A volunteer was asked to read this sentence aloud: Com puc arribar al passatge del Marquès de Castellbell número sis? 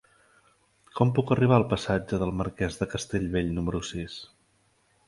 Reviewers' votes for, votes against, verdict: 4, 0, accepted